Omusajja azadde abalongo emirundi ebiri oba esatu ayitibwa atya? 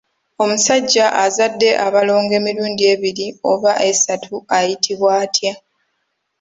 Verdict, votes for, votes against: accepted, 2, 0